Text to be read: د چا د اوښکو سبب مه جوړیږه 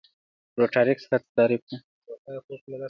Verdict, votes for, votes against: rejected, 1, 2